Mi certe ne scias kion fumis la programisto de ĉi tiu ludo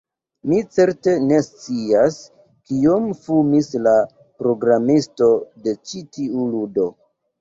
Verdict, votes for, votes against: rejected, 0, 2